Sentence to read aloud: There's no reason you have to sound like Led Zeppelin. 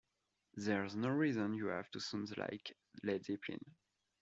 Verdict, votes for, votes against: accepted, 2, 0